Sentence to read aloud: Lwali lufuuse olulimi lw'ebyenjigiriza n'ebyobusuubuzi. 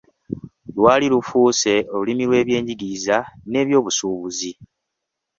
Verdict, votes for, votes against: accepted, 2, 0